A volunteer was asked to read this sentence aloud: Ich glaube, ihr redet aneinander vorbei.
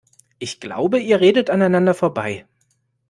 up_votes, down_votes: 2, 0